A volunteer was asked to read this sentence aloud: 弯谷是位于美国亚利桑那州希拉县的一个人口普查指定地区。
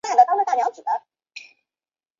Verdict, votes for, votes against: accepted, 5, 2